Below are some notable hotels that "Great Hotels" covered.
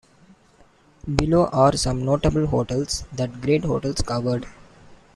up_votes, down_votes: 2, 1